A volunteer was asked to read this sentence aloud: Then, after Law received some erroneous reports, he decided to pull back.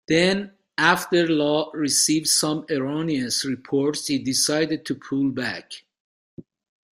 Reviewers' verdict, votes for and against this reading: accepted, 2, 1